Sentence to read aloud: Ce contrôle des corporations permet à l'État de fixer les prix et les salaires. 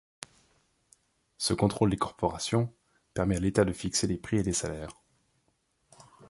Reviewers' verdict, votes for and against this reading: accepted, 2, 0